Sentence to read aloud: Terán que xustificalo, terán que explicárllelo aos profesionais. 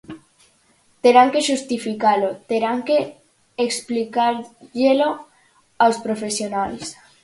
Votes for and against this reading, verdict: 0, 4, rejected